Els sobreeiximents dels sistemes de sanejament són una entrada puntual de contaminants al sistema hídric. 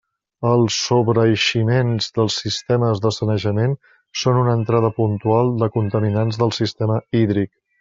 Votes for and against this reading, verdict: 0, 2, rejected